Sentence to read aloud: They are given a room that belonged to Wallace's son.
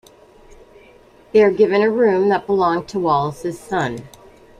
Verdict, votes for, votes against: accepted, 2, 0